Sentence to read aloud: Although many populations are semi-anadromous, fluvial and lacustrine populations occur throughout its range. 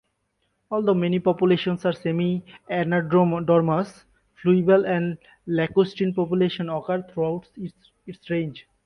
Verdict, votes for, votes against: rejected, 0, 2